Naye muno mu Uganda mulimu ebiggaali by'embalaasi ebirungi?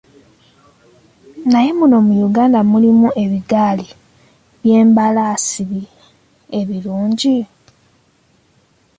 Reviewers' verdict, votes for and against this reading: rejected, 1, 2